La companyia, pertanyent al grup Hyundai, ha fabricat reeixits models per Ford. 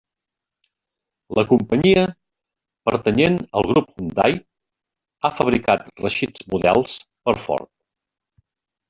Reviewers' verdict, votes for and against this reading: rejected, 1, 2